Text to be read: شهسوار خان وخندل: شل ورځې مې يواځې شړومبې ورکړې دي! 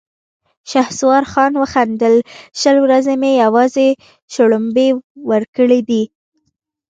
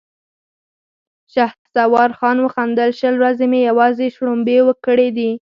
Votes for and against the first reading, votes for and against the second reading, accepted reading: 2, 0, 2, 4, first